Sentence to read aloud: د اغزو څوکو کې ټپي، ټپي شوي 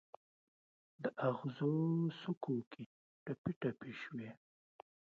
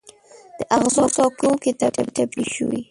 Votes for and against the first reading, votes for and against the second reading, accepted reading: 2, 0, 0, 2, first